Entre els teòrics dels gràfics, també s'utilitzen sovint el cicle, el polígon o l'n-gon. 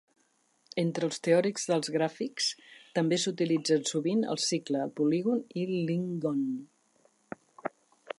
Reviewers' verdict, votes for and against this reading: accepted, 4, 1